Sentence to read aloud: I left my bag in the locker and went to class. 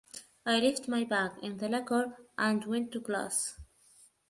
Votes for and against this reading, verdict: 2, 0, accepted